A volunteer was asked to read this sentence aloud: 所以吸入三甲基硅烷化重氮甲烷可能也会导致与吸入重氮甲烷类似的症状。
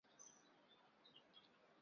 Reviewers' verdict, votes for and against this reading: rejected, 0, 2